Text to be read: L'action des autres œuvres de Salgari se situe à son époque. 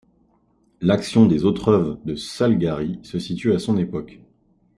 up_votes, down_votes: 1, 2